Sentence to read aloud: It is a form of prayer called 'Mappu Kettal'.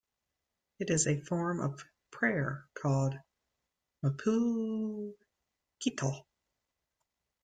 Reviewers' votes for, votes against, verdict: 1, 2, rejected